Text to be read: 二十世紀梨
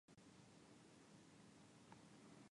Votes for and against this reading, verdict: 1, 2, rejected